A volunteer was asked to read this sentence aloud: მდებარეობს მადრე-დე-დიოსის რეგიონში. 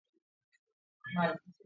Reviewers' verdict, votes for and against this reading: rejected, 0, 2